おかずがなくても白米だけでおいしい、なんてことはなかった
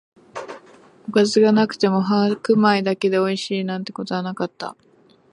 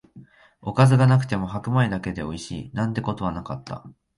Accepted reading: second